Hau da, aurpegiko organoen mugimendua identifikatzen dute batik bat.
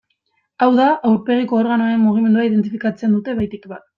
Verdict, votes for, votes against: accepted, 2, 1